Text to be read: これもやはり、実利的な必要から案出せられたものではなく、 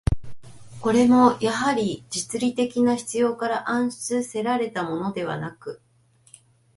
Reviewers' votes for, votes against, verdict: 2, 1, accepted